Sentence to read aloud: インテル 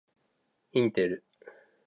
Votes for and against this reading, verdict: 2, 0, accepted